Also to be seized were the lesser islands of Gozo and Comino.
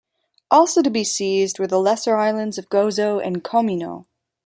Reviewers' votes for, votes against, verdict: 2, 0, accepted